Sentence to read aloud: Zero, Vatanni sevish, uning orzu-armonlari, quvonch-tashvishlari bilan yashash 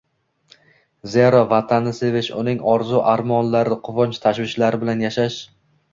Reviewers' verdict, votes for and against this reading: accepted, 2, 0